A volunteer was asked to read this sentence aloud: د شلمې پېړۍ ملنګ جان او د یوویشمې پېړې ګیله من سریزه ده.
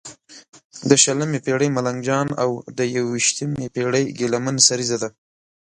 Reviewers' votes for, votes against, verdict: 2, 0, accepted